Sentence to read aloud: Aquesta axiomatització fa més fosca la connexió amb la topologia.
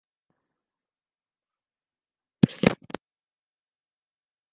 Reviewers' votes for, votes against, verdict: 0, 2, rejected